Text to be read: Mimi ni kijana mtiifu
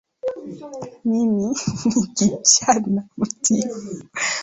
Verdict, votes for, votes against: accepted, 2, 1